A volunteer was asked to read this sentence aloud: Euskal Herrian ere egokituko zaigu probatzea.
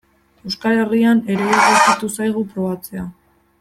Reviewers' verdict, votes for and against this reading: rejected, 1, 2